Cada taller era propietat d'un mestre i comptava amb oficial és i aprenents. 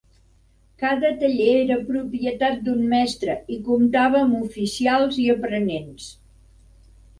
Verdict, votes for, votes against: rejected, 0, 2